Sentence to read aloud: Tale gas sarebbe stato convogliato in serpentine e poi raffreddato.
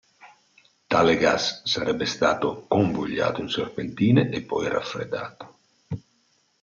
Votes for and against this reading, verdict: 2, 0, accepted